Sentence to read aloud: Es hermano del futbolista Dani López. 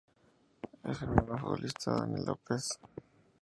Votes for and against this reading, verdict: 0, 2, rejected